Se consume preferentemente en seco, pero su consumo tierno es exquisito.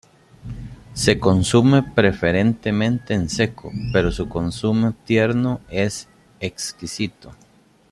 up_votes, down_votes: 0, 2